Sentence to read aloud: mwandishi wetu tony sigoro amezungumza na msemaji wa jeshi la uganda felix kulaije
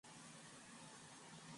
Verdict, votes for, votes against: rejected, 0, 3